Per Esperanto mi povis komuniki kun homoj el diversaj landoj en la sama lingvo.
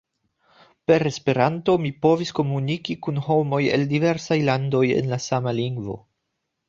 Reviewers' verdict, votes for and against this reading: accepted, 2, 0